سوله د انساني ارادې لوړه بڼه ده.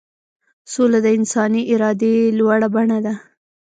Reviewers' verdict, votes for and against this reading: rejected, 1, 2